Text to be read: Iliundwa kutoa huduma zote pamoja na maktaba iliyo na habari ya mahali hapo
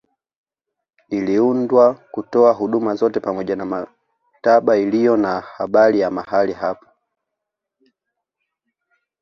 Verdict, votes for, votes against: accepted, 2, 0